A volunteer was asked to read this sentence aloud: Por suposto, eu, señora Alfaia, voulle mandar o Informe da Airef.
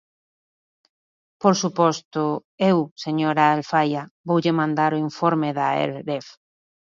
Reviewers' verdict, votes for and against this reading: rejected, 0, 2